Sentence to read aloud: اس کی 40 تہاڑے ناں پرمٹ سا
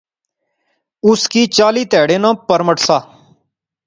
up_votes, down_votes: 0, 2